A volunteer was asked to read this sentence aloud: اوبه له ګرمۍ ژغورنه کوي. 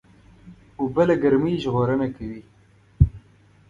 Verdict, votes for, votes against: accepted, 2, 0